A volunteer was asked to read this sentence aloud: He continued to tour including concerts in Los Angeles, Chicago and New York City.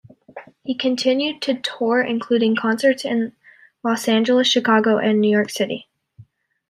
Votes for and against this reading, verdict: 2, 0, accepted